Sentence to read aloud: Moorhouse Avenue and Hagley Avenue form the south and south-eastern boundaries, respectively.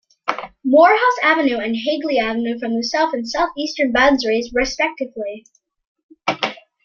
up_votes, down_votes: 2, 0